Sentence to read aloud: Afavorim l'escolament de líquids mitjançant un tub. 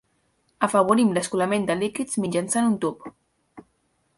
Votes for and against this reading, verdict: 2, 0, accepted